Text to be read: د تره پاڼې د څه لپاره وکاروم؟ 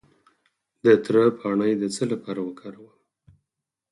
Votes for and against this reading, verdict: 4, 2, accepted